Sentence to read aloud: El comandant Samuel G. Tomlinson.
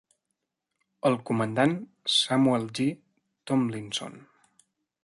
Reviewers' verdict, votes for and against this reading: accepted, 3, 0